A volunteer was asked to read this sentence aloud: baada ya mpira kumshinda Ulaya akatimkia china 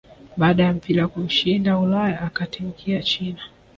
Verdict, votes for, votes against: accepted, 2, 1